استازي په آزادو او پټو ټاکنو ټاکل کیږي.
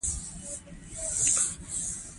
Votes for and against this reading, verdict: 2, 1, accepted